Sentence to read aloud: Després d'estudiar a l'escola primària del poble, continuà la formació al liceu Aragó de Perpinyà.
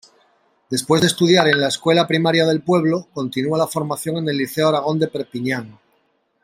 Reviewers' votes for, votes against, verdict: 0, 2, rejected